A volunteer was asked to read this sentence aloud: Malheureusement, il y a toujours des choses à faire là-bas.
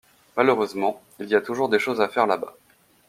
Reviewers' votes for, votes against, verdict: 2, 0, accepted